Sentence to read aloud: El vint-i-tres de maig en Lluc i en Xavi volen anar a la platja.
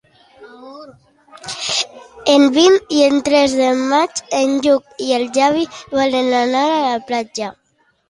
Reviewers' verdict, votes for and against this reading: rejected, 1, 2